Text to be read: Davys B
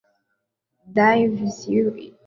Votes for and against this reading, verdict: 0, 2, rejected